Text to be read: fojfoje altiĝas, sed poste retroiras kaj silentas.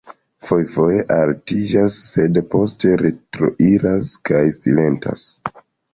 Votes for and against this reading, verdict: 2, 0, accepted